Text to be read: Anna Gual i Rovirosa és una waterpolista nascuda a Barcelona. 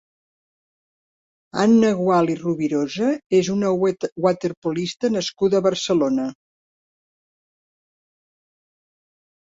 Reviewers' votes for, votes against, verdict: 1, 2, rejected